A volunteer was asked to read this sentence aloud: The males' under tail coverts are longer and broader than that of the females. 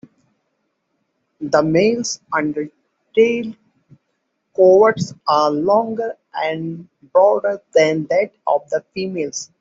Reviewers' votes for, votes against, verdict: 2, 1, accepted